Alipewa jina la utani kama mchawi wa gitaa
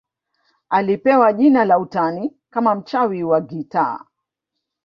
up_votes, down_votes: 2, 1